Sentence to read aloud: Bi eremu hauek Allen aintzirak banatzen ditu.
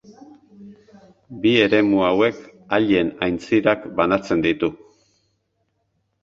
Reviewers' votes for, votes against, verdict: 0, 2, rejected